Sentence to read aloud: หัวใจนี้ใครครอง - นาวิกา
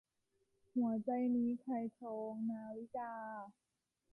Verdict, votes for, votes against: rejected, 1, 2